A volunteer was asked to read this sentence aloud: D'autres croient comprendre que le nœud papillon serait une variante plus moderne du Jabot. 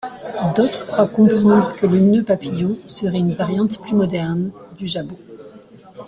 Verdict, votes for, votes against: accepted, 2, 1